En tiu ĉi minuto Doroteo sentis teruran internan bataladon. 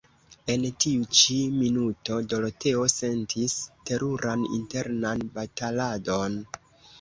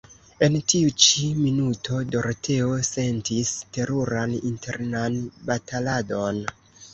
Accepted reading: second